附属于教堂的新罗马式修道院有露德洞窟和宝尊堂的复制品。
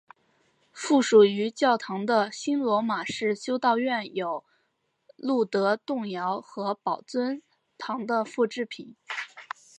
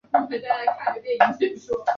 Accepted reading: first